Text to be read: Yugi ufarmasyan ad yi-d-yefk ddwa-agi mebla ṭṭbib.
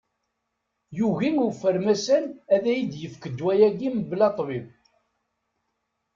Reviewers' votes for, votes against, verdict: 1, 2, rejected